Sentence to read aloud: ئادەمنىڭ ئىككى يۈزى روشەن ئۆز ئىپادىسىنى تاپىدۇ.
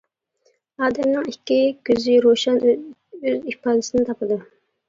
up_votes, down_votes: 0, 2